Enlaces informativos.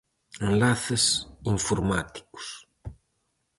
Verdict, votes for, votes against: rejected, 0, 4